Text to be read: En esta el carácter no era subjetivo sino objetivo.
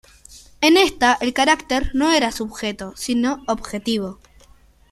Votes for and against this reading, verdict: 0, 2, rejected